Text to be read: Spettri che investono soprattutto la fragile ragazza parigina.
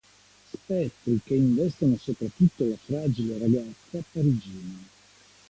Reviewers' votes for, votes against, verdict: 0, 2, rejected